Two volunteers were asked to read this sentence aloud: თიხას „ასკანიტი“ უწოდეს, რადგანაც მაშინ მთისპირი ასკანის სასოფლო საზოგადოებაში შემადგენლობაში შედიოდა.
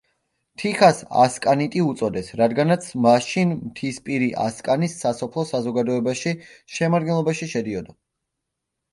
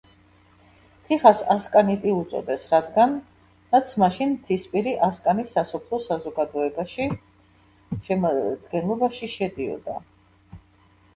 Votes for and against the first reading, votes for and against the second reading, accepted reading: 2, 0, 1, 2, first